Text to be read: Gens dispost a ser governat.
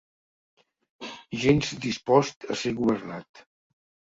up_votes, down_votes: 1, 2